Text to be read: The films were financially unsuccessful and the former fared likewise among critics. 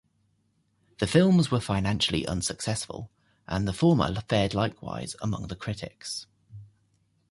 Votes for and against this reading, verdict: 0, 2, rejected